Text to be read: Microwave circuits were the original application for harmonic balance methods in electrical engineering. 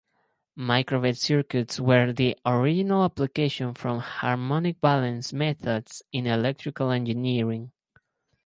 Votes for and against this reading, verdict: 2, 2, rejected